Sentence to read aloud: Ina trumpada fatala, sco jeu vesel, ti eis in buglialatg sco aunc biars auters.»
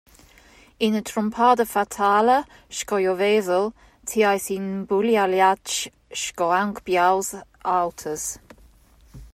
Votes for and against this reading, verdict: 0, 2, rejected